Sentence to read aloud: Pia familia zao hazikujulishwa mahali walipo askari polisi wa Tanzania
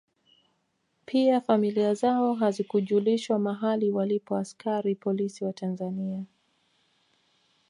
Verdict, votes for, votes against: rejected, 0, 2